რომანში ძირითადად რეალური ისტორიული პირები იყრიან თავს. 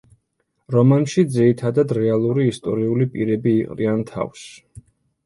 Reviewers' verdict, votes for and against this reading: accepted, 2, 0